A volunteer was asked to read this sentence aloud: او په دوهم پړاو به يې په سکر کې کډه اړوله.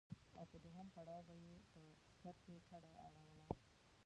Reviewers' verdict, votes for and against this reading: rejected, 0, 2